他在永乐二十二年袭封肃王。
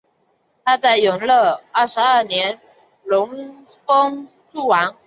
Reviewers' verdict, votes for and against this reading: rejected, 1, 2